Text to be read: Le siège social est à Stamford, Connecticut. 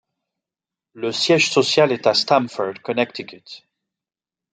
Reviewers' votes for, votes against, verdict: 2, 0, accepted